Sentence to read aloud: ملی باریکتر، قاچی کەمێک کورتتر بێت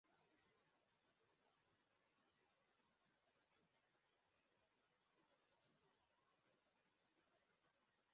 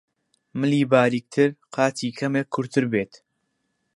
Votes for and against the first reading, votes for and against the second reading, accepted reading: 0, 2, 2, 0, second